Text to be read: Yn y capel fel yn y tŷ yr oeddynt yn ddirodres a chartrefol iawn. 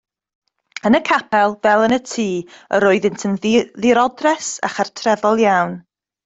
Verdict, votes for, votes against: rejected, 0, 2